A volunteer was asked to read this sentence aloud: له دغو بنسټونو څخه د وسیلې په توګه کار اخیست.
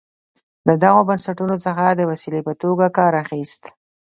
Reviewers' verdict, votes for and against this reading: accepted, 2, 0